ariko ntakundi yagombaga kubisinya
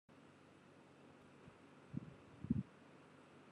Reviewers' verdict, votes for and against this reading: rejected, 1, 2